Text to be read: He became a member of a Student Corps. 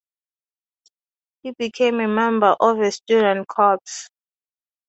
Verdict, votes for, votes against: accepted, 2, 0